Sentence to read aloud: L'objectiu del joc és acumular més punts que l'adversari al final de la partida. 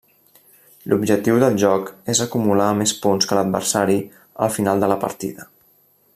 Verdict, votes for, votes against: rejected, 1, 2